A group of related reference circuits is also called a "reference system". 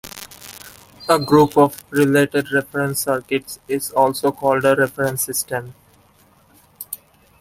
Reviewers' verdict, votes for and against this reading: rejected, 0, 2